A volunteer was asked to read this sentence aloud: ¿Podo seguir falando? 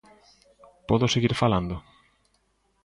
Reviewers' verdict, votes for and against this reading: accepted, 2, 0